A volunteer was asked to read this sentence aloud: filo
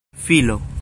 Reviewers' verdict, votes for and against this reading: accepted, 2, 0